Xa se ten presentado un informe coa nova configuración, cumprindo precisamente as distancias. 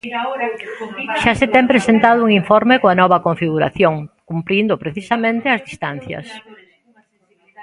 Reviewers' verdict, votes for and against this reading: rejected, 1, 2